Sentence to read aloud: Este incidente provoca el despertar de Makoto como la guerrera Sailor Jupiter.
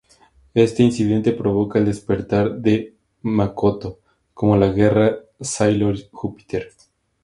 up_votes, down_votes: 0, 2